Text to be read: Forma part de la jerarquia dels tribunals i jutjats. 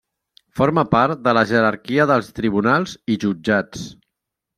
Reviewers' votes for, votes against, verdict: 3, 0, accepted